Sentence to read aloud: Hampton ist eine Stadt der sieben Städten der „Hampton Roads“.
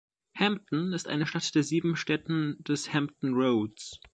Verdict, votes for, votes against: rejected, 1, 2